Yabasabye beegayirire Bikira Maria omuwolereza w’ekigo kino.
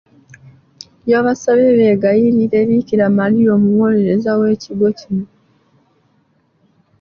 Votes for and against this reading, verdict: 2, 1, accepted